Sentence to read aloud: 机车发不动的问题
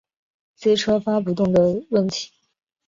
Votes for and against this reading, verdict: 7, 0, accepted